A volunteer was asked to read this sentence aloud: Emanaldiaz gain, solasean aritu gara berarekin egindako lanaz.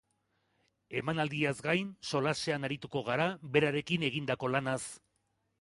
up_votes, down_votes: 1, 2